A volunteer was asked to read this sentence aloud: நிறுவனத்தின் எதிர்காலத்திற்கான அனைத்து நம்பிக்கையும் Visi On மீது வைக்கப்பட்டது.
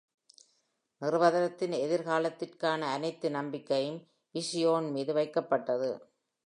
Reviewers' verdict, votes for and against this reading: accepted, 2, 1